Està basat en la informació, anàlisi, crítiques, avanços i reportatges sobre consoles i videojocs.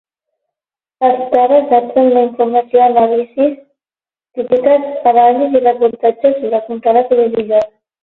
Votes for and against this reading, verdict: 0, 12, rejected